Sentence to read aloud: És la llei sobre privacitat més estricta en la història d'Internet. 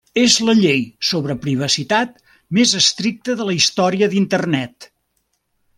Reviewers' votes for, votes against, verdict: 1, 2, rejected